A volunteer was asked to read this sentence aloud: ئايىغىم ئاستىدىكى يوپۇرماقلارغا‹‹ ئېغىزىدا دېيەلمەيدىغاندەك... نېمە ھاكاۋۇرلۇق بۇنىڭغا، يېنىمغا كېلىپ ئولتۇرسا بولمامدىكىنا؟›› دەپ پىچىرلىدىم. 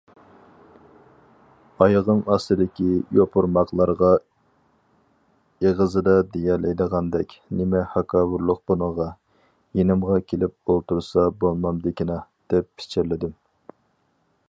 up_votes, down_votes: 0, 2